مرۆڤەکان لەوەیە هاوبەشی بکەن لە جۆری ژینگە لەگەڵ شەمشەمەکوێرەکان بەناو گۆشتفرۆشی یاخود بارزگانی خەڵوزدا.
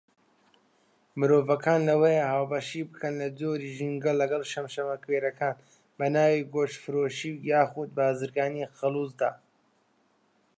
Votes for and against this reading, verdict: 1, 2, rejected